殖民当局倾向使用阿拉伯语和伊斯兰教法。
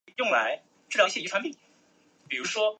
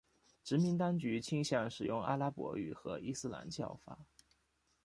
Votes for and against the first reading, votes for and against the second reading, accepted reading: 0, 2, 2, 0, second